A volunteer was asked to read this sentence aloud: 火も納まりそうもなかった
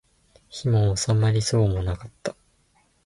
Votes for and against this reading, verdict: 2, 0, accepted